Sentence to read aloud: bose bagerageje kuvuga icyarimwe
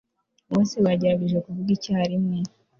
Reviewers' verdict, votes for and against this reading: accepted, 2, 0